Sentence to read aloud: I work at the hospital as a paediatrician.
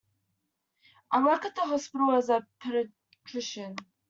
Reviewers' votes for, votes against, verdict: 1, 2, rejected